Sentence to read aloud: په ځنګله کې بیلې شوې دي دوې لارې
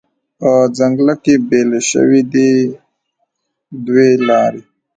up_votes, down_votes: 0, 2